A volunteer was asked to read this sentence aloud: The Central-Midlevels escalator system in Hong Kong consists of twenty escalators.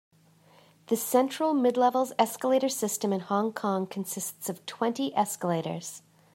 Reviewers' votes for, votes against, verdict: 2, 0, accepted